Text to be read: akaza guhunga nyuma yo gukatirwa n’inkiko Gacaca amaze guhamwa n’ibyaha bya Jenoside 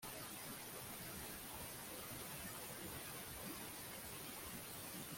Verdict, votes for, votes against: rejected, 0, 2